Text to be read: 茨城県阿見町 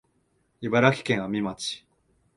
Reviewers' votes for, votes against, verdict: 2, 0, accepted